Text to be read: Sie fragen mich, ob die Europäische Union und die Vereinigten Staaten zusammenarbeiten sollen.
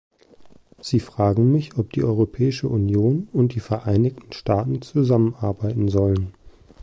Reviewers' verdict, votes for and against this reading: accepted, 3, 0